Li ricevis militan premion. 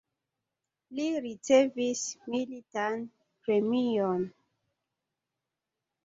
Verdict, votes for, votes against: accepted, 2, 1